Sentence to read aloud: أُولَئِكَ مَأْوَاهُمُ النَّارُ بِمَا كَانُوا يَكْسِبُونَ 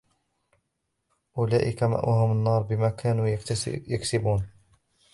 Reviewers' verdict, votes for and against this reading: rejected, 1, 3